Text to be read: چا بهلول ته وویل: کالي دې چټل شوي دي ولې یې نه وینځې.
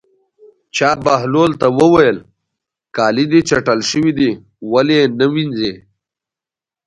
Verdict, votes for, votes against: accepted, 2, 0